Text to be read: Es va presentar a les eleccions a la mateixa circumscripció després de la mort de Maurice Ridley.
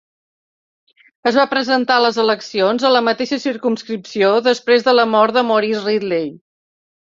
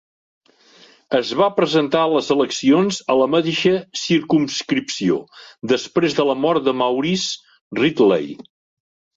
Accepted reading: first